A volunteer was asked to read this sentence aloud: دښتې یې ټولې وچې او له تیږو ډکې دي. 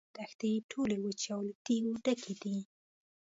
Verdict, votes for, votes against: accepted, 2, 1